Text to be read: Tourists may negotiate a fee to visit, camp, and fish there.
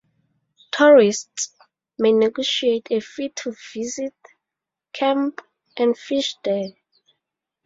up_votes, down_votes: 2, 0